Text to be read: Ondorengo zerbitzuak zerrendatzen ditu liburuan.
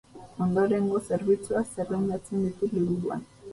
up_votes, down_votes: 2, 0